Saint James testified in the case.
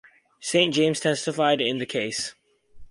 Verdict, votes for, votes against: accepted, 4, 0